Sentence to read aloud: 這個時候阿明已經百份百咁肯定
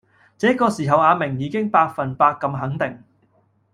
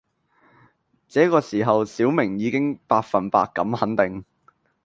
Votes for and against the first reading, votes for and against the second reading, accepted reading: 2, 0, 1, 2, first